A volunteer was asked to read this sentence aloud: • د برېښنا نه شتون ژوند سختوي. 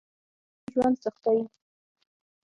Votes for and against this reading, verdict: 3, 6, rejected